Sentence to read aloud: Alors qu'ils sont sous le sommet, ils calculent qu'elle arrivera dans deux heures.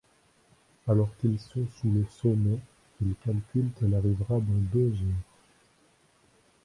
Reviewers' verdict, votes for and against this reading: rejected, 0, 2